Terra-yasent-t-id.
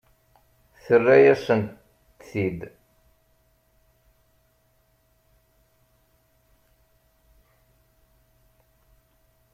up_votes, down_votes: 0, 2